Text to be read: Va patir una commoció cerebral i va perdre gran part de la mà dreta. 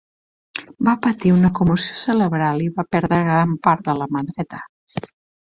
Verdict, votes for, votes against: rejected, 0, 2